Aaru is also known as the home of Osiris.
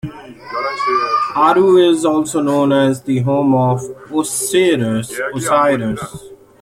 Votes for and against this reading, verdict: 1, 2, rejected